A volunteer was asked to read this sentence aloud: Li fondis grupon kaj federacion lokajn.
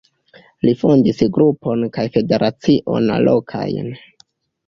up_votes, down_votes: 1, 2